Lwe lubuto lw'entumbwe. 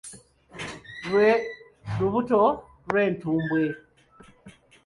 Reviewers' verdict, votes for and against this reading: accepted, 2, 0